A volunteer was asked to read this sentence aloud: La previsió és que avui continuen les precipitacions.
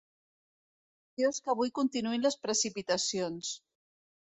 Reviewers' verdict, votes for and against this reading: rejected, 1, 2